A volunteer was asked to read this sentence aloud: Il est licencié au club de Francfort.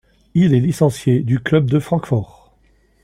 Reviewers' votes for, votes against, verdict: 1, 2, rejected